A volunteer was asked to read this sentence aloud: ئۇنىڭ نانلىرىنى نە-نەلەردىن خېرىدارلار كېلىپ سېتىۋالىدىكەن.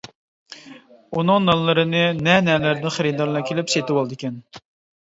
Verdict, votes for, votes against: accepted, 2, 0